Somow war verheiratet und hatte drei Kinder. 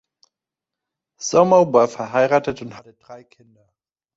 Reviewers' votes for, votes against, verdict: 0, 2, rejected